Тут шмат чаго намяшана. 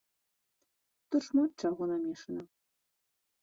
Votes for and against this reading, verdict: 0, 2, rejected